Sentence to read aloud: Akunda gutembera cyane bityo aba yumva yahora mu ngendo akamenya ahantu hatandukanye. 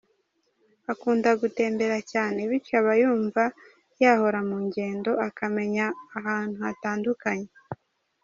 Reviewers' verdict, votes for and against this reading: accepted, 2, 0